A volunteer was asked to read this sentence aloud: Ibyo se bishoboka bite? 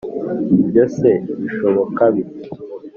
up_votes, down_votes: 2, 0